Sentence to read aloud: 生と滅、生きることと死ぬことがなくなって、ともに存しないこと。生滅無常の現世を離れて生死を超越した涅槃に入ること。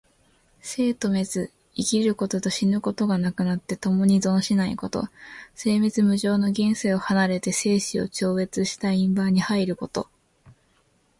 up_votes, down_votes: 1, 2